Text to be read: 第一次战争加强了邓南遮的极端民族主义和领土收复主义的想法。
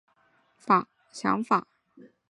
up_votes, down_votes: 0, 4